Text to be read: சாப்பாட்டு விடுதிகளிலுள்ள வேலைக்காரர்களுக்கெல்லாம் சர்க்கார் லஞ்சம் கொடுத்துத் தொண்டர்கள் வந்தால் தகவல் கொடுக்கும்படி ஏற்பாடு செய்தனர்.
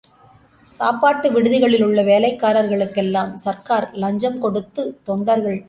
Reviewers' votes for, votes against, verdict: 0, 2, rejected